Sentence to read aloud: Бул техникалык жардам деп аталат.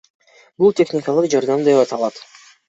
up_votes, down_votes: 1, 2